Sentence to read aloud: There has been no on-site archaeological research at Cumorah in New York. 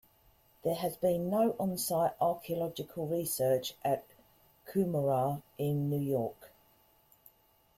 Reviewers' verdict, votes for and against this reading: rejected, 1, 2